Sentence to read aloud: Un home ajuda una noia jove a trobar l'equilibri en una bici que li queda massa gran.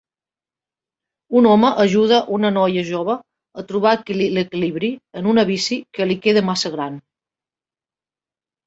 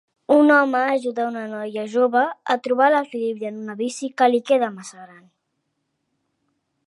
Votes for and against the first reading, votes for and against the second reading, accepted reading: 0, 2, 3, 0, second